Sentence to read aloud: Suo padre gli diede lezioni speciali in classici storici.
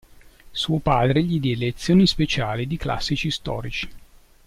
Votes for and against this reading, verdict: 1, 2, rejected